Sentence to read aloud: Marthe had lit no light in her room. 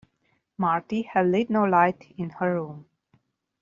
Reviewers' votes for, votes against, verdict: 0, 2, rejected